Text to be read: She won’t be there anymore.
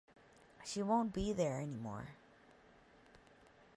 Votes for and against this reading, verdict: 0, 2, rejected